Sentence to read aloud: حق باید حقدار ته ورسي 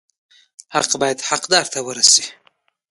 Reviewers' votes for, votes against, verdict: 0, 2, rejected